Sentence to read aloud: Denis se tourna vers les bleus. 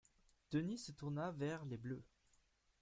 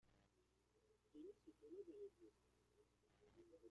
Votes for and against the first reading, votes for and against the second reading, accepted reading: 2, 0, 0, 2, first